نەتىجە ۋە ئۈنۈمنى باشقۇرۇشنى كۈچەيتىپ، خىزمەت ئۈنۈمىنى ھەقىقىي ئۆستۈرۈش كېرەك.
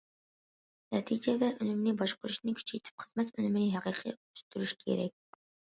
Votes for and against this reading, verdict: 2, 0, accepted